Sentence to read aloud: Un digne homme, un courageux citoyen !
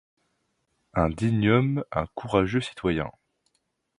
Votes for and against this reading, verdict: 2, 0, accepted